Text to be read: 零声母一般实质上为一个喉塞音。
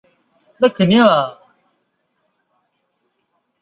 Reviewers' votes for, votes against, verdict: 0, 2, rejected